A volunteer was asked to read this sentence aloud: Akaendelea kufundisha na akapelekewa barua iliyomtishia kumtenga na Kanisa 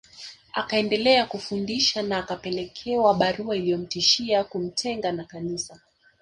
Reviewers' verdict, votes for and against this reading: rejected, 1, 2